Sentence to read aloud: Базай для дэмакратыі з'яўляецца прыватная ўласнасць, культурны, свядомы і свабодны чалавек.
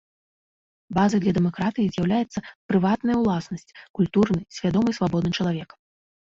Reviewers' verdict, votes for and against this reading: rejected, 0, 2